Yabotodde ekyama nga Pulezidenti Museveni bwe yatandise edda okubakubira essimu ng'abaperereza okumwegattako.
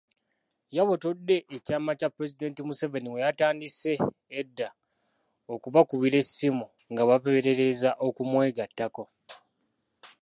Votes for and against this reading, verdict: 0, 2, rejected